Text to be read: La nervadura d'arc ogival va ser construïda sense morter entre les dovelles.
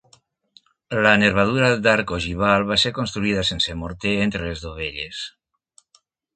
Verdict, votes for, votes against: accepted, 2, 0